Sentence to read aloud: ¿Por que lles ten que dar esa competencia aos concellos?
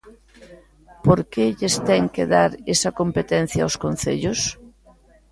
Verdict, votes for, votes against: rejected, 1, 2